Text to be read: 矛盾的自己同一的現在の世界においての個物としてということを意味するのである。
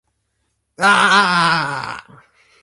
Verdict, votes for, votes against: rejected, 0, 2